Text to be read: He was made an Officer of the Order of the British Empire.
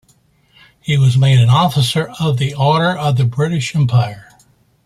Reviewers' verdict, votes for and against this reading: accepted, 2, 0